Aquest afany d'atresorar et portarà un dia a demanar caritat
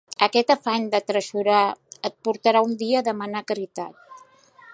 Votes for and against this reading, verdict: 2, 0, accepted